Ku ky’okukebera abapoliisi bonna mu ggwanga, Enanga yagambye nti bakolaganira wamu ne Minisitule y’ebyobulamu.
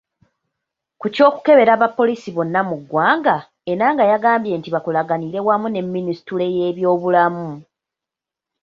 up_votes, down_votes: 2, 0